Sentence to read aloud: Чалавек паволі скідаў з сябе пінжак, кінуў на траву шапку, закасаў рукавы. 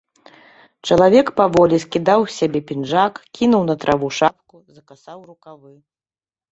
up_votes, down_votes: 1, 2